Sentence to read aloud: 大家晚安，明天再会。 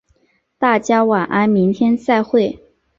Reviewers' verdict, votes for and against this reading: accepted, 2, 0